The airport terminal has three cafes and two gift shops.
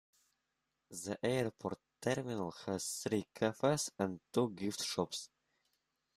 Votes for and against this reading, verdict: 2, 0, accepted